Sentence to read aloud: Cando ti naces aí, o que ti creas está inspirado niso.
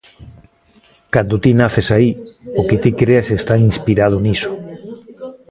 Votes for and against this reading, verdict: 0, 2, rejected